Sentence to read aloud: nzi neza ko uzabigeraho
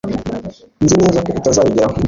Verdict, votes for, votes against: rejected, 1, 2